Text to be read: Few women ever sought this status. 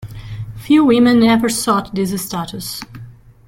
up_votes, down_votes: 0, 2